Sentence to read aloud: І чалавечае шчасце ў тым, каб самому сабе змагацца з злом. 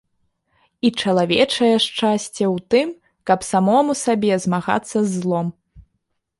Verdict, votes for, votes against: accepted, 2, 0